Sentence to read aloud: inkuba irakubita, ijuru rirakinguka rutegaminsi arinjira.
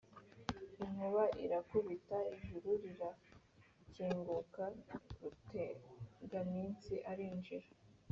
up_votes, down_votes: 3, 0